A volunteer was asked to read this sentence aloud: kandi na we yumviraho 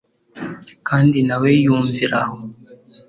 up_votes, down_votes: 4, 0